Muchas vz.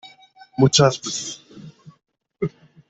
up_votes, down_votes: 0, 2